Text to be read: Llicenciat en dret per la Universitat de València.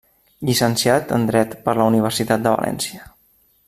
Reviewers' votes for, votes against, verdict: 3, 0, accepted